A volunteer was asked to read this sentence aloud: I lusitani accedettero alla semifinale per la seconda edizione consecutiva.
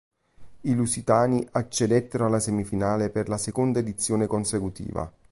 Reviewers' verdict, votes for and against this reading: accepted, 2, 0